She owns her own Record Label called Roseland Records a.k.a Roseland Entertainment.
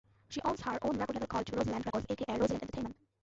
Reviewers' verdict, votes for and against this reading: rejected, 0, 2